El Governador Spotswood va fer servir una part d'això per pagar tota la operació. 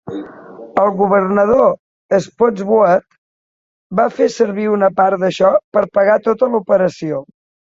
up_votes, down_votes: 2, 0